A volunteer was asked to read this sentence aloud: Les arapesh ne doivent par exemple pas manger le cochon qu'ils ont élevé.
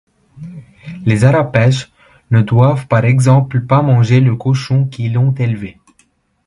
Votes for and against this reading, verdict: 1, 2, rejected